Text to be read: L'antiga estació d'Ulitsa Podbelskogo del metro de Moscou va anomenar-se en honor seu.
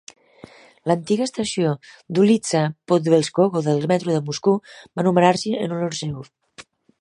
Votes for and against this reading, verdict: 1, 2, rejected